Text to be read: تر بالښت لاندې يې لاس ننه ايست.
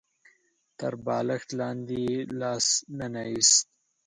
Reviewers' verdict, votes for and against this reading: accepted, 7, 0